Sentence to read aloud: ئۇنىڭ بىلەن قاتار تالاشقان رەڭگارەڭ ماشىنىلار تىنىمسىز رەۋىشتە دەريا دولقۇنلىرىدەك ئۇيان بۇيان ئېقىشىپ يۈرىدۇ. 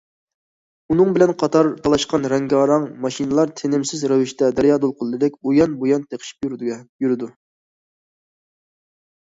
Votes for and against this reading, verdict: 1, 2, rejected